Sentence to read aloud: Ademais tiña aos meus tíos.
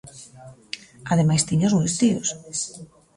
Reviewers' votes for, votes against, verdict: 2, 0, accepted